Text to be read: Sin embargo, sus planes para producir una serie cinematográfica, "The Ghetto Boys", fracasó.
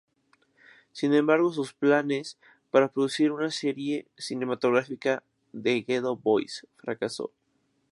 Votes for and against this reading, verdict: 2, 0, accepted